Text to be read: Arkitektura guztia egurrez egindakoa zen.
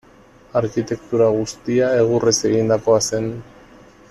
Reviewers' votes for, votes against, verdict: 2, 0, accepted